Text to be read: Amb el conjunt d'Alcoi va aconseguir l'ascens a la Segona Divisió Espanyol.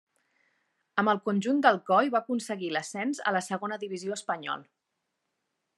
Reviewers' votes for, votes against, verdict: 2, 0, accepted